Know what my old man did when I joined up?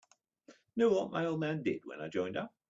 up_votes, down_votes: 2, 0